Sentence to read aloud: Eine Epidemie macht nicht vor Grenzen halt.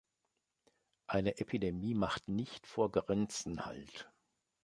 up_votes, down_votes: 2, 0